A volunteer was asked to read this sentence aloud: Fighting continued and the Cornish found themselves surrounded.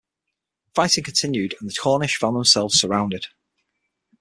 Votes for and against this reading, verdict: 6, 0, accepted